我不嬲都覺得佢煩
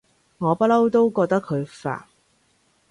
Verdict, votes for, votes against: accepted, 3, 0